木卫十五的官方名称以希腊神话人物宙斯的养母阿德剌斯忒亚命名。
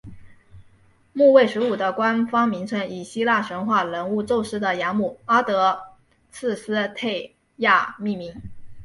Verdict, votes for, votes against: rejected, 0, 2